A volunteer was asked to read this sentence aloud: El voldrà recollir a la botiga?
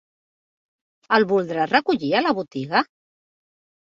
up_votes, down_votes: 2, 0